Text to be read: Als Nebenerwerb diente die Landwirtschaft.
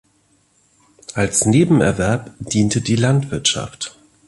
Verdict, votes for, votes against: accepted, 2, 0